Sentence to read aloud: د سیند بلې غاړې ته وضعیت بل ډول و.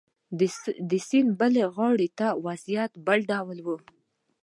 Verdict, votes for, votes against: accepted, 2, 0